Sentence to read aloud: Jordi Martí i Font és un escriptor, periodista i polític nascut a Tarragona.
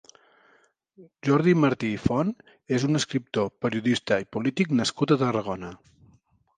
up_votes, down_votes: 2, 0